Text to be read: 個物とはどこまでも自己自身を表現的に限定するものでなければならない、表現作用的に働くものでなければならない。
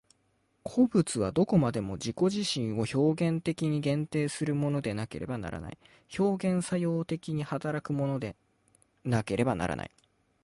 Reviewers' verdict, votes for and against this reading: accepted, 2, 0